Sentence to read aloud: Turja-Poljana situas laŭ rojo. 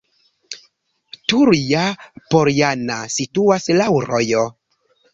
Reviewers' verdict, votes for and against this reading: accepted, 2, 0